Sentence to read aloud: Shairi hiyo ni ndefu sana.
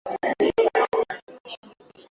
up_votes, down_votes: 3, 39